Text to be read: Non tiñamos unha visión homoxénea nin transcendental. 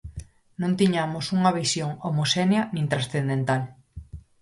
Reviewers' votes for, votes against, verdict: 4, 0, accepted